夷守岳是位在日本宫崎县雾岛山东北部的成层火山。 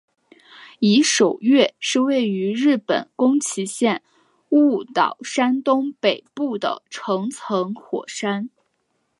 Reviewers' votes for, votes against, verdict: 6, 0, accepted